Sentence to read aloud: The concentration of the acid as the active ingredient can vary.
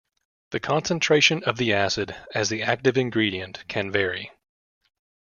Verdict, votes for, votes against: accepted, 2, 0